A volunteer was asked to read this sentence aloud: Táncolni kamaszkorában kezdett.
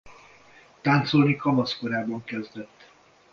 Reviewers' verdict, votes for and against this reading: accepted, 2, 0